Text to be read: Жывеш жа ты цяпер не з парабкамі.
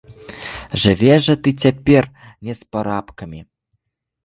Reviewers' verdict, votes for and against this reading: rejected, 0, 2